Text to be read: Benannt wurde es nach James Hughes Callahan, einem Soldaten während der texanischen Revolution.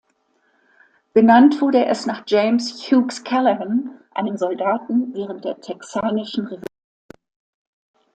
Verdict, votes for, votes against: rejected, 0, 2